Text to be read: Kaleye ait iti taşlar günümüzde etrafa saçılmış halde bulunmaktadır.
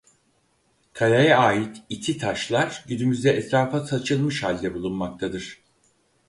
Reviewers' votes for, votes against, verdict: 4, 0, accepted